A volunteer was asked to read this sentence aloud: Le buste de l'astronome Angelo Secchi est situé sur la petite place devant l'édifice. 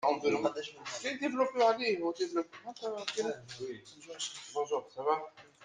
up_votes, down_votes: 0, 2